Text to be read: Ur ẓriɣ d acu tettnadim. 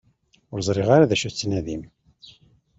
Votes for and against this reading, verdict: 1, 2, rejected